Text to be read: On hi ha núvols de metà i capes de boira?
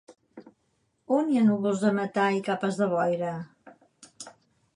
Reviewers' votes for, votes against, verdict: 4, 0, accepted